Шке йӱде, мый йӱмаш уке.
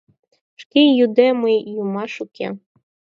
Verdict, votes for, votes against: accepted, 4, 0